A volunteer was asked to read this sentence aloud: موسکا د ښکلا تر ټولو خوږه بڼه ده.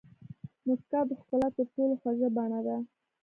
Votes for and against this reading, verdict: 1, 2, rejected